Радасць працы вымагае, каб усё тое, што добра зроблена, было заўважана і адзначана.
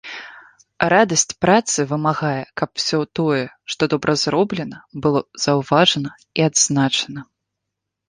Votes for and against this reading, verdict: 2, 0, accepted